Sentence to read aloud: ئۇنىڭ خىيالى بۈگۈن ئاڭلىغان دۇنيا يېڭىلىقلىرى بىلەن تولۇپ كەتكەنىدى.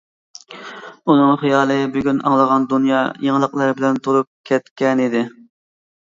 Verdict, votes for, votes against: accepted, 2, 0